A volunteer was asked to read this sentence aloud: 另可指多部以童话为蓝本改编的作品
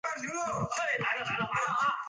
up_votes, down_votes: 0, 2